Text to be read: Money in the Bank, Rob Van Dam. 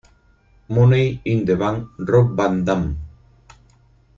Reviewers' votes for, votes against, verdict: 0, 4, rejected